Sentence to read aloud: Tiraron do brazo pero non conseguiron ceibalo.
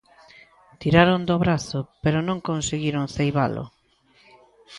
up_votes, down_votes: 2, 0